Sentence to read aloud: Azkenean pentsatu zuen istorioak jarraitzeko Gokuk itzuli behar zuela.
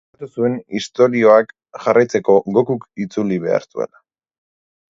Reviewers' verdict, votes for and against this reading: rejected, 0, 2